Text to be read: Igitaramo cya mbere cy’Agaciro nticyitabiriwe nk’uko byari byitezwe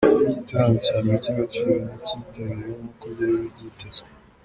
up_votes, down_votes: 1, 2